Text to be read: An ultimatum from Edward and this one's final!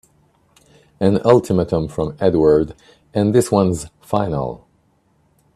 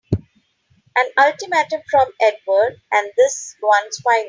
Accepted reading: first